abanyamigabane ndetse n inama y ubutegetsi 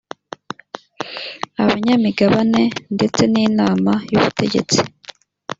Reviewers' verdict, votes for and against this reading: rejected, 1, 2